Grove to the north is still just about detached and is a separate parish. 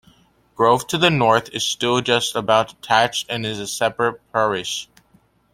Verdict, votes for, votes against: accepted, 2, 0